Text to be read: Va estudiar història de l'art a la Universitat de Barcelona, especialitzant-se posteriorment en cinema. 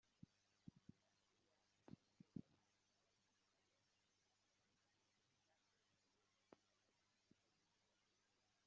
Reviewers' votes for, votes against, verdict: 0, 2, rejected